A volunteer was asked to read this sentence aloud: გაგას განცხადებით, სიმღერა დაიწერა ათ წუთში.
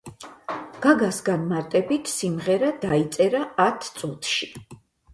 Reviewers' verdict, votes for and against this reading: rejected, 2, 4